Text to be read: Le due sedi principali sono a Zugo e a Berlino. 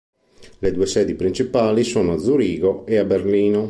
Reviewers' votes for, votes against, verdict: 0, 2, rejected